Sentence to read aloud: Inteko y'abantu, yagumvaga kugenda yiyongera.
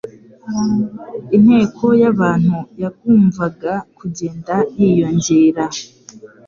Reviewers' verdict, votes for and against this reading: accepted, 2, 0